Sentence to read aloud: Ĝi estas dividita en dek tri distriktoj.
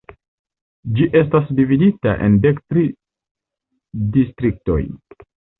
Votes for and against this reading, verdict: 1, 2, rejected